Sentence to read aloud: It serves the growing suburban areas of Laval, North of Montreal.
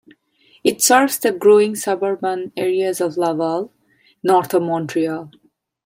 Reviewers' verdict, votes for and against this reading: accepted, 2, 0